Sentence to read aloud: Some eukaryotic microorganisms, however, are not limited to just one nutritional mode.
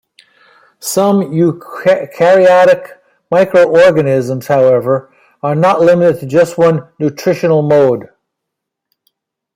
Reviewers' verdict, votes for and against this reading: rejected, 0, 2